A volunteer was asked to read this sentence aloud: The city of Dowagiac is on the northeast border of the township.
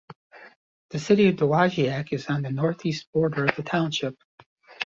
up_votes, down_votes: 2, 0